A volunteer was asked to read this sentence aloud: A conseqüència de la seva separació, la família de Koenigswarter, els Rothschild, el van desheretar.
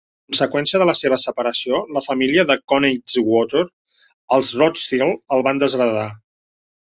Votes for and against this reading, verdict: 2, 1, accepted